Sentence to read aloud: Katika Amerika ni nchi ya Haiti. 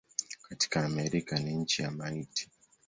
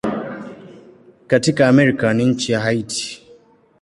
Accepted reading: second